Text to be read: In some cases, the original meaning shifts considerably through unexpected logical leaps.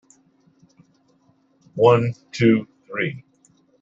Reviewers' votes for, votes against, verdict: 0, 2, rejected